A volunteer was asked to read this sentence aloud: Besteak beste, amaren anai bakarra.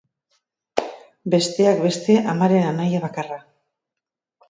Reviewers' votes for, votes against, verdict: 0, 2, rejected